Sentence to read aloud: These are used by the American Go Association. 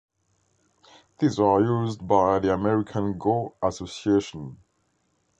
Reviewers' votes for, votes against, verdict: 2, 0, accepted